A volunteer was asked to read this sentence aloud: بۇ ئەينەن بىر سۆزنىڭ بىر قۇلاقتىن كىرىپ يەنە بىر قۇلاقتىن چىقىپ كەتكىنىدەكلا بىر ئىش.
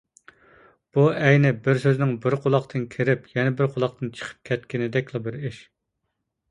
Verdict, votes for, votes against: rejected, 0, 2